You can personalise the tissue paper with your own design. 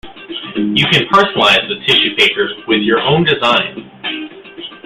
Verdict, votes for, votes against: accepted, 2, 1